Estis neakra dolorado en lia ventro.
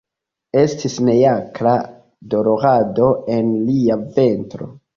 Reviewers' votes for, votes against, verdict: 2, 1, accepted